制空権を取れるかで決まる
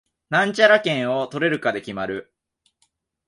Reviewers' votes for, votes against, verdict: 1, 12, rejected